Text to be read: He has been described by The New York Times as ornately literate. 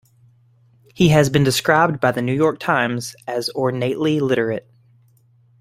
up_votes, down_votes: 3, 0